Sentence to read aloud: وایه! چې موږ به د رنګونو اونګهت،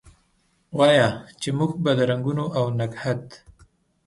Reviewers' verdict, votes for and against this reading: rejected, 0, 2